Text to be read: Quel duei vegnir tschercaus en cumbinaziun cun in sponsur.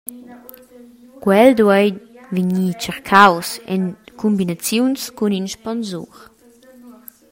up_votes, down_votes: 0, 2